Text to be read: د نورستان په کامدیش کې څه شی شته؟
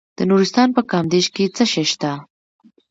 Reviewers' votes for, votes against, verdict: 2, 0, accepted